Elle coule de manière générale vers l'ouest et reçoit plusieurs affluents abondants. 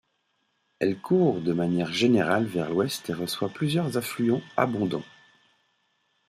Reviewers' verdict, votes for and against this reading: rejected, 1, 2